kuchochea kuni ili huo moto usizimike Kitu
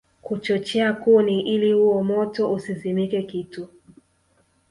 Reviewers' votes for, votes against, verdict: 1, 2, rejected